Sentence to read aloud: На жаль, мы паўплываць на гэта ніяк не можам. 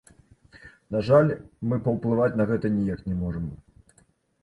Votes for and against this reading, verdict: 2, 1, accepted